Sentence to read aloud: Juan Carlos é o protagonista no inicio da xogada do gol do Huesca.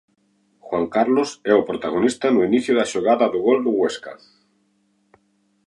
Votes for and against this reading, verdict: 2, 0, accepted